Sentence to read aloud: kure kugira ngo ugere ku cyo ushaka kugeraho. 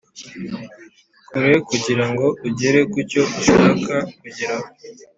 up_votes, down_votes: 2, 0